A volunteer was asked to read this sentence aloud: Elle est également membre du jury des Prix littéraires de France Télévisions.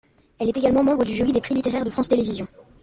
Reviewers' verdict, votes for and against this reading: rejected, 1, 2